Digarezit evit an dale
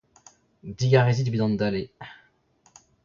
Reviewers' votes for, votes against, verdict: 0, 2, rejected